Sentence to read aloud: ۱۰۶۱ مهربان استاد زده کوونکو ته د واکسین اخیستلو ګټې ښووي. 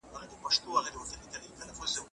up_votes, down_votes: 0, 2